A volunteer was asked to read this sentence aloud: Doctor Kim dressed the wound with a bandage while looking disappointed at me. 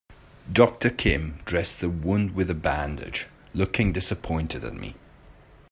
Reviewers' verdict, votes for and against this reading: rejected, 1, 2